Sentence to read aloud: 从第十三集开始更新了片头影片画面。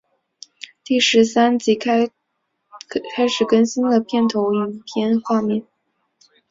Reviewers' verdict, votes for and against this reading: rejected, 0, 2